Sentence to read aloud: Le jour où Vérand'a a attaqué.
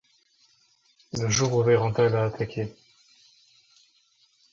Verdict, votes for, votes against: rejected, 1, 2